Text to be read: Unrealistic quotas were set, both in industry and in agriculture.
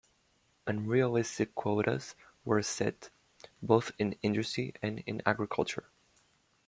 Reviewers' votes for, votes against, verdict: 2, 1, accepted